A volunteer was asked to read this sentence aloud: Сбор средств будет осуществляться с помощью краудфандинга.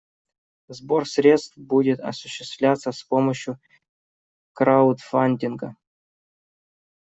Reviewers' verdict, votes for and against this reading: accepted, 2, 0